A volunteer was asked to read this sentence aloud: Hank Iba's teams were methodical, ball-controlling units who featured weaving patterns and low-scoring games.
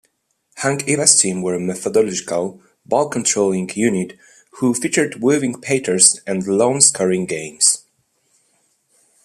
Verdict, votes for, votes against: accepted, 2, 0